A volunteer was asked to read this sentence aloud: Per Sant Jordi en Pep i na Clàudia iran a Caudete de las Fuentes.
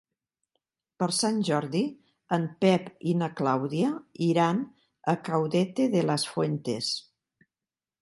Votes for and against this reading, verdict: 2, 0, accepted